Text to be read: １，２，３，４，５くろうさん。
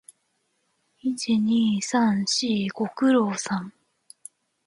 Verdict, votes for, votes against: rejected, 0, 2